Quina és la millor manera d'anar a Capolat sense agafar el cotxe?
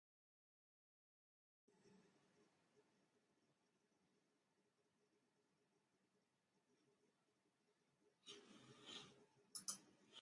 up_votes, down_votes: 0, 2